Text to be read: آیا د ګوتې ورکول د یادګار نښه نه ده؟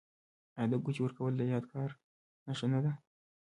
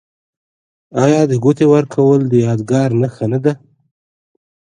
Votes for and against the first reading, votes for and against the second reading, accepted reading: 1, 2, 2, 0, second